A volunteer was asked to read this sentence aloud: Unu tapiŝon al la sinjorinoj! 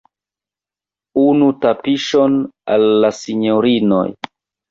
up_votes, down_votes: 1, 2